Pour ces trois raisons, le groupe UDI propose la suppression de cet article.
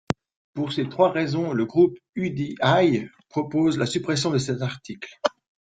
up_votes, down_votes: 0, 3